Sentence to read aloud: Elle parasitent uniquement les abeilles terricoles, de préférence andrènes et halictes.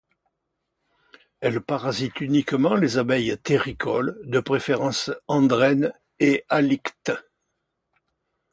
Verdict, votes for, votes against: accepted, 2, 0